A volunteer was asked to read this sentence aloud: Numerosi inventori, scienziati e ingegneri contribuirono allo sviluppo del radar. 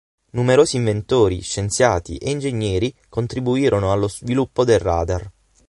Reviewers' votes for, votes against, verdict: 6, 0, accepted